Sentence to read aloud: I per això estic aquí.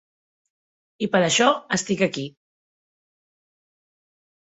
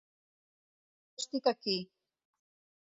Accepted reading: first